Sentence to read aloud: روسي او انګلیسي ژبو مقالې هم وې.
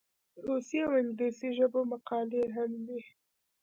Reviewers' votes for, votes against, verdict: 1, 2, rejected